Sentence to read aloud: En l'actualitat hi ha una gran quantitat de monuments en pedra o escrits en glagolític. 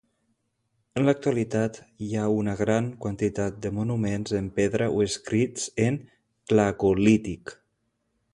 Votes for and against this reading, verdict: 2, 0, accepted